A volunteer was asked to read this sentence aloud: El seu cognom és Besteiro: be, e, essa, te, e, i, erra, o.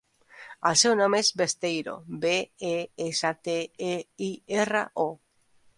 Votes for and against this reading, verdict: 2, 1, accepted